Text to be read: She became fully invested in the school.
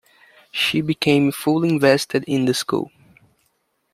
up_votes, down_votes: 1, 2